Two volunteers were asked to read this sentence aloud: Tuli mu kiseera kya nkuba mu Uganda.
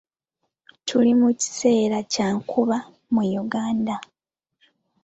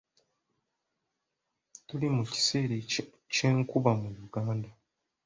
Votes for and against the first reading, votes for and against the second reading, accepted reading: 2, 0, 1, 3, first